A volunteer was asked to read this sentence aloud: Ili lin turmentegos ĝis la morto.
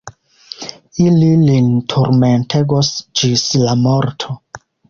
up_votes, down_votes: 2, 1